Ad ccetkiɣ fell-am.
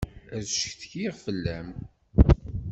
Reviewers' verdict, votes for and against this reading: accepted, 2, 1